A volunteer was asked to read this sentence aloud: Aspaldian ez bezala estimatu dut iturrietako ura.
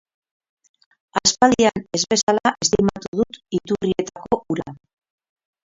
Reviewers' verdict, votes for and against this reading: rejected, 2, 6